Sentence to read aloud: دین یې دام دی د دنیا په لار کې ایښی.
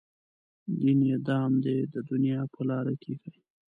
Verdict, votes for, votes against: rejected, 0, 2